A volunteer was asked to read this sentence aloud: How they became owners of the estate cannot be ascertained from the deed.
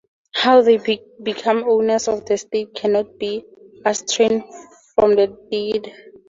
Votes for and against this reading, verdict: 0, 2, rejected